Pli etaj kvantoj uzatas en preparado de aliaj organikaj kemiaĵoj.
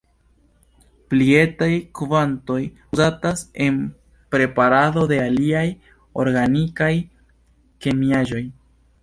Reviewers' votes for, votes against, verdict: 2, 0, accepted